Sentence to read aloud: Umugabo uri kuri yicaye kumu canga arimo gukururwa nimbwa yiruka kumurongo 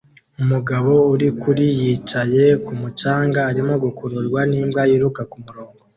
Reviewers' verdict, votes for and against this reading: accepted, 2, 0